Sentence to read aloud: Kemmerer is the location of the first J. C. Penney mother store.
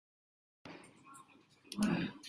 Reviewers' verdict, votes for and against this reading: rejected, 0, 2